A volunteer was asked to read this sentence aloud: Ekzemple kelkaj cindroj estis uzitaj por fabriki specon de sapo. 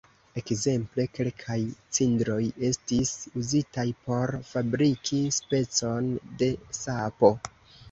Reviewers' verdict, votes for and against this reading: accepted, 2, 0